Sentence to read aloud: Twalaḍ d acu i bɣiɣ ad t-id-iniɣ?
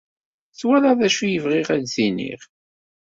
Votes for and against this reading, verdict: 2, 1, accepted